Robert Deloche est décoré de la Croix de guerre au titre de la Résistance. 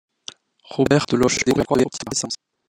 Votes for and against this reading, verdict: 0, 2, rejected